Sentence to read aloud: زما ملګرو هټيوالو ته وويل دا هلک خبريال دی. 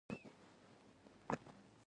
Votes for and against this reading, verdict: 0, 2, rejected